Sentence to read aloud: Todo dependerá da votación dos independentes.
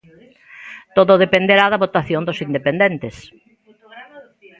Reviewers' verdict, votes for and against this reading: accepted, 2, 1